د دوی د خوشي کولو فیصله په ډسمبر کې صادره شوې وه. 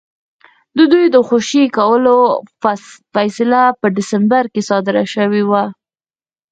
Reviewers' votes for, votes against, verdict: 2, 4, rejected